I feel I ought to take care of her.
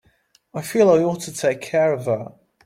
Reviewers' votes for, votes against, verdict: 3, 0, accepted